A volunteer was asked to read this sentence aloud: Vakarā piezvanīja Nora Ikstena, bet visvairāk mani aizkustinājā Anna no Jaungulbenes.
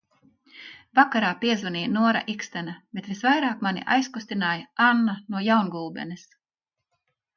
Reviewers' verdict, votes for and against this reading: accepted, 3, 0